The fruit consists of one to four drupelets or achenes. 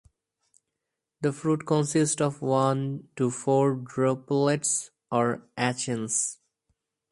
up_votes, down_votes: 0, 2